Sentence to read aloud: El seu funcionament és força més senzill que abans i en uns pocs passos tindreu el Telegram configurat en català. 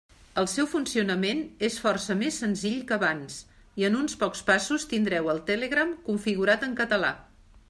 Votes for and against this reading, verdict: 3, 0, accepted